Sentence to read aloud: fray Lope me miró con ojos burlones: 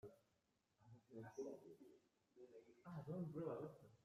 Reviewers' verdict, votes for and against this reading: rejected, 0, 2